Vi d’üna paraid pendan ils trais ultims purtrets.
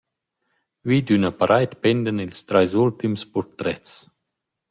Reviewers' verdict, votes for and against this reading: accepted, 2, 0